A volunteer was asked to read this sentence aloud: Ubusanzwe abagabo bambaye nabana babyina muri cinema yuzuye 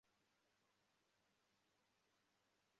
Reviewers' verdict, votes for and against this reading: rejected, 0, 2